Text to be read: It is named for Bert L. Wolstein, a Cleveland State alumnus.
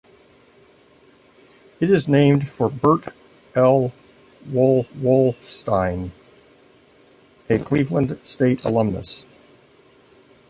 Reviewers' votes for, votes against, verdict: 0, 2, rejected